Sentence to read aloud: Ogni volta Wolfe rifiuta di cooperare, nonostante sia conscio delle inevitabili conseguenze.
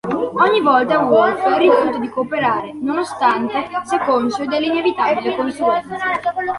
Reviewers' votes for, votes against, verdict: 1, 2, rejected